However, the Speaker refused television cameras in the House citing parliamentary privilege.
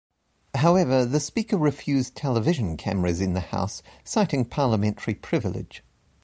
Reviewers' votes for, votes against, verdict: 2, 0, accepted